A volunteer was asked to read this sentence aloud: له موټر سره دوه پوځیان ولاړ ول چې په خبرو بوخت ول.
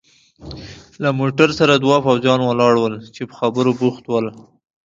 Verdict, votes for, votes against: accepted, 2, 0